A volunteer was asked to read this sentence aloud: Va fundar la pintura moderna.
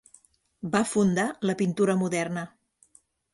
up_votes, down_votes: 3, 0